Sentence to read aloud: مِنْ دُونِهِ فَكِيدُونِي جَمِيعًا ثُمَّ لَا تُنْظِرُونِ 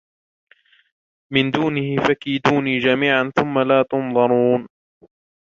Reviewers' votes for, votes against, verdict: 1, 2, rejected